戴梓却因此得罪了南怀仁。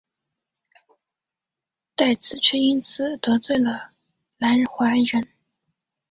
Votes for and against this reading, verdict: 2, 1, accepted